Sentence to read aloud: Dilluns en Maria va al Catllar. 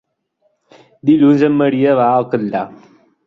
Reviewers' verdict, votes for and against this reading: accepted, 2, 0